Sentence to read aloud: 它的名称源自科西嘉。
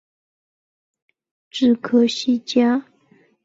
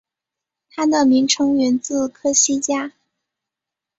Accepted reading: second